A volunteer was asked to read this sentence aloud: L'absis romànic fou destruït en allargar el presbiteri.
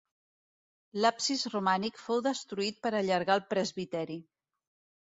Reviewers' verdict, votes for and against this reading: rejected, 0, 2